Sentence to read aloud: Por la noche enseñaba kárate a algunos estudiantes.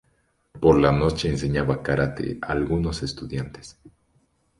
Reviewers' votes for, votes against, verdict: 0, 2, rejected